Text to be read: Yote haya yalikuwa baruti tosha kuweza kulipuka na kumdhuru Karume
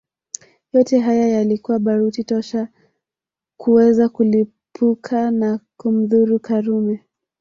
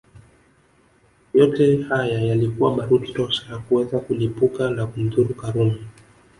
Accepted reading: second